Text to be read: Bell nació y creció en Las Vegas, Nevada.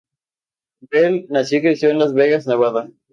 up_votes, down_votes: 2, 0